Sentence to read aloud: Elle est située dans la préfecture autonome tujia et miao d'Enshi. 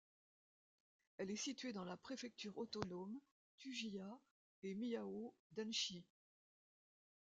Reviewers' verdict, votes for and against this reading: rejected, 0, 2